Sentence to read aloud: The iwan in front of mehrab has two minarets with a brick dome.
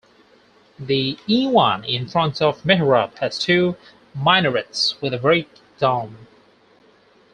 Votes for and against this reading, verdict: 2, 4, rejected